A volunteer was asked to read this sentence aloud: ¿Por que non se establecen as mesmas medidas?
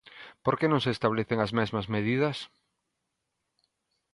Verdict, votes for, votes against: accepted, 2, 0